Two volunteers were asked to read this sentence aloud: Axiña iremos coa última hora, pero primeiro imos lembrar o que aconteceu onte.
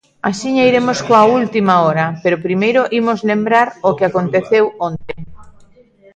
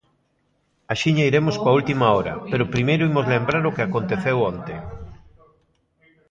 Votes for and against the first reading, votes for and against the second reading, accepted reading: 1, 2, 2, 0, second